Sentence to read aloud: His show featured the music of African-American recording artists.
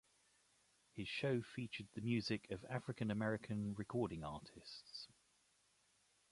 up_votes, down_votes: 2, 0